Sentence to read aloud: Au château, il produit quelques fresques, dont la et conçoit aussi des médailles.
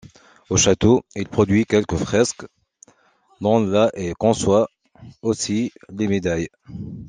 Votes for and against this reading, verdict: 1, 2, rejected